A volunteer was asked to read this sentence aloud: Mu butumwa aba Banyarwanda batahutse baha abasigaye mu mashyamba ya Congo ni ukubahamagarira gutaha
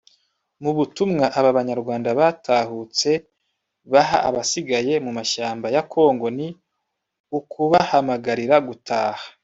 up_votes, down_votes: 1, 2